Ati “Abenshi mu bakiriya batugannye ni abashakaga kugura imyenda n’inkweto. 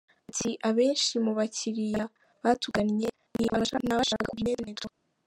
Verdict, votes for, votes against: rejected, 1, 2